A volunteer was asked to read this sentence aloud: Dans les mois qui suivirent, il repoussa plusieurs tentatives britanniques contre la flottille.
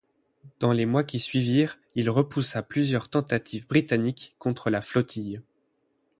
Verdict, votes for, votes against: accepted, 8, 0